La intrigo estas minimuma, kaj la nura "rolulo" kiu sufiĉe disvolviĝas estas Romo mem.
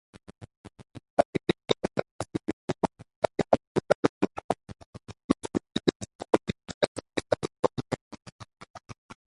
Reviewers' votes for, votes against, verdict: 0, 2, rejected